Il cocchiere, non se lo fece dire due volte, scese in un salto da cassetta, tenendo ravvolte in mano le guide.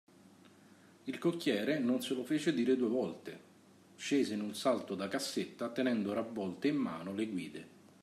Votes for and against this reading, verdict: 2, 0, accepted